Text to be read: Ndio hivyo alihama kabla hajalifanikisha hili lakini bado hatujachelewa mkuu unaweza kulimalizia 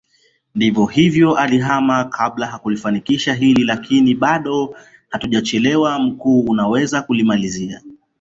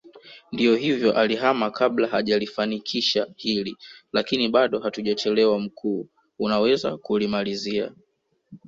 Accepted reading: second